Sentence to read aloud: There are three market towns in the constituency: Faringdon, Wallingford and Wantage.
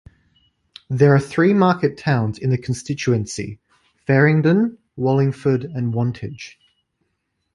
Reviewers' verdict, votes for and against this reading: accepted, 2, 0